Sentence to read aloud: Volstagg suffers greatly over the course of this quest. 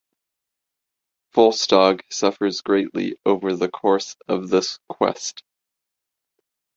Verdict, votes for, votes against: accepted, 2, 0